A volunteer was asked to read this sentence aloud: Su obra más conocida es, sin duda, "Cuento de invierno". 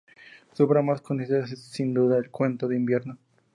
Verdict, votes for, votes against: rejected, 0, 2